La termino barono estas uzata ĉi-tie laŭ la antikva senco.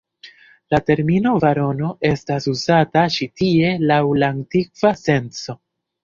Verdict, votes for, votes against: accepted, 3, 0